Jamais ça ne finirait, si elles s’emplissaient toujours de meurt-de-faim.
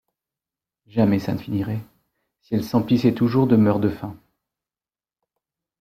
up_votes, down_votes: 2, 0